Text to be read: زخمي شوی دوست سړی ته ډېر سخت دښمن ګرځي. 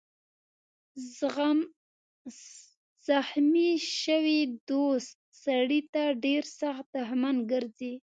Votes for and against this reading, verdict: 0, 3, rejected